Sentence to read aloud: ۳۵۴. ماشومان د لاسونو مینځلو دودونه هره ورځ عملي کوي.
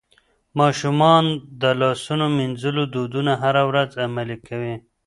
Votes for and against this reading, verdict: 0, 2, rejected